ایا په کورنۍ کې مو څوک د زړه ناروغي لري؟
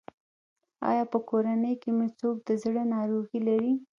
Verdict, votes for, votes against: rejected, 1, 2